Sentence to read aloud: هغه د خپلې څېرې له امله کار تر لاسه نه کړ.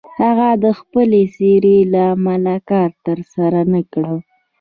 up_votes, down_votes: 2, 0